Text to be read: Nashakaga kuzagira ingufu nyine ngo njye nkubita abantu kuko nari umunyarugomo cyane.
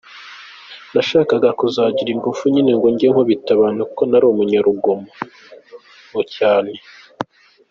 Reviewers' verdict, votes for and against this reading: accepted, 2, 0